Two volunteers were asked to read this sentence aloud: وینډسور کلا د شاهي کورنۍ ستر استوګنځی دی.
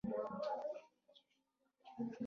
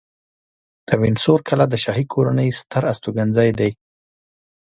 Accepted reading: second